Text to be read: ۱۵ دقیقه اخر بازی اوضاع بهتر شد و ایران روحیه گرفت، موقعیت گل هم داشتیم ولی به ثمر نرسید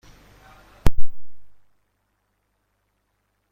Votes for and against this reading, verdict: 0, 2, rejected